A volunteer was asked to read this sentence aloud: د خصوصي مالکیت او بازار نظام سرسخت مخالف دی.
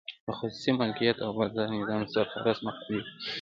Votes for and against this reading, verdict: 1, 2, rejected